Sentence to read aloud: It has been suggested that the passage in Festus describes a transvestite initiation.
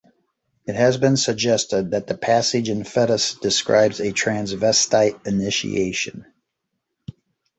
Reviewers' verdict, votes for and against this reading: rejected, 1, 2